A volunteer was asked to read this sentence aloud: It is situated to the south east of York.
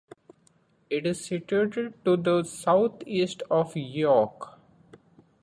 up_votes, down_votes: 2, 0